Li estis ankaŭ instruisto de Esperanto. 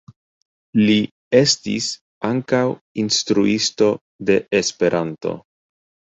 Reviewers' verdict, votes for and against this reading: rejected, 0, 2